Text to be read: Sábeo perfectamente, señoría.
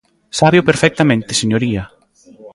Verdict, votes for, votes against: accepted, 2, 1